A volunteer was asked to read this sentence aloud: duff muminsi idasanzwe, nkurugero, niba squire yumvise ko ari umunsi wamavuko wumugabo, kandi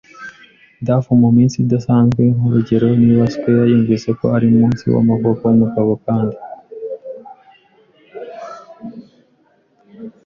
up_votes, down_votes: 2, 1